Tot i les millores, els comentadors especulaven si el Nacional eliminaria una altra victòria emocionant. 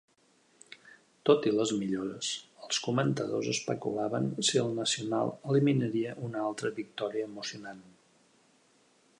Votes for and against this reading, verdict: 3, 1, accepted